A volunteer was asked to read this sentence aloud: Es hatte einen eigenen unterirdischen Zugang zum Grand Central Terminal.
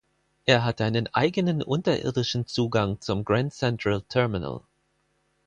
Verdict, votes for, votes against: rejected, 0, 4